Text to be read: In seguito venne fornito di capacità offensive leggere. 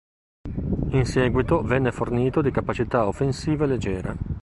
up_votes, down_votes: 2, 0